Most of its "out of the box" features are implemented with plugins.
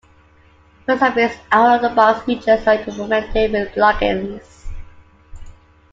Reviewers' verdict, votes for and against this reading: rejected, 0, 2